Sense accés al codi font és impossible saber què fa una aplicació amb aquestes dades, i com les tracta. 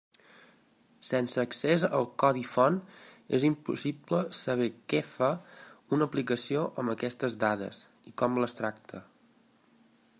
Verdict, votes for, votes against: accepted, 4, 1